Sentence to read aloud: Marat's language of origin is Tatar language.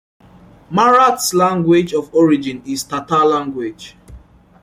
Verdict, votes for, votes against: accepted, 2, 0